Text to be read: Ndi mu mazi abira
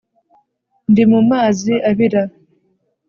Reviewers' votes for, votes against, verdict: 2, 0, accepted